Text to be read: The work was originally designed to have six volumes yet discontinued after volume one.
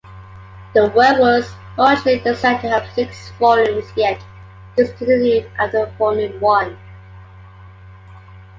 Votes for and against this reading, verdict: 2, 1, accepted